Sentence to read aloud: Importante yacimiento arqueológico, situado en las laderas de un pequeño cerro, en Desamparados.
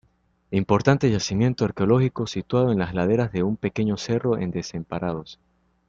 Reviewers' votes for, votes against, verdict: 0, 2, rejected